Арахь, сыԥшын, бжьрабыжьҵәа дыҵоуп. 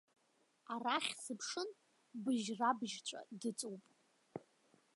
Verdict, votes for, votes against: rejected, 1, 2